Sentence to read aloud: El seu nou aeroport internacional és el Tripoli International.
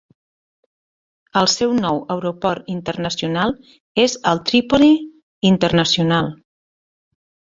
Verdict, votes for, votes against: accepted, 2, 1